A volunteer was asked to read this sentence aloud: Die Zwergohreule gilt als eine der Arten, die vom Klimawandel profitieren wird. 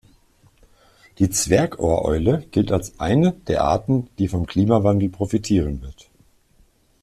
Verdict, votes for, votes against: accepted, 2, 0